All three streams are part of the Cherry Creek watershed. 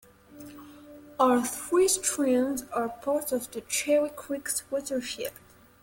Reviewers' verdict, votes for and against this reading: accepted, 2, 1